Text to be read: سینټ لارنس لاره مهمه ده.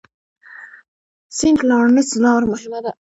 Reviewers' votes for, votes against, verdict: 1, 2, rejected